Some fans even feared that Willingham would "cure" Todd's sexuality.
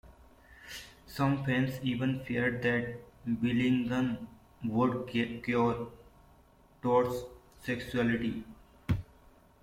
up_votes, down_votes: 0, 2